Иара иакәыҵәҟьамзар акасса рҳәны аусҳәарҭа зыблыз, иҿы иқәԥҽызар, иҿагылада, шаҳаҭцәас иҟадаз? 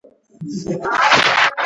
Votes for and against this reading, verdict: 0, 7, rejected